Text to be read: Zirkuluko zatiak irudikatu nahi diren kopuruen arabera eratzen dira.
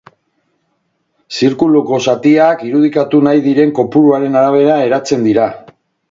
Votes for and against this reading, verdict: 2, 4, rejected